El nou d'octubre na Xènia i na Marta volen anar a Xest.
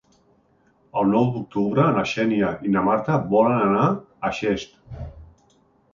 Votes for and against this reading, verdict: 3, 0, accepted